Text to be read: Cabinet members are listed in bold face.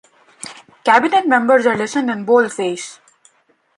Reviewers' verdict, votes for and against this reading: accepted, 2, 0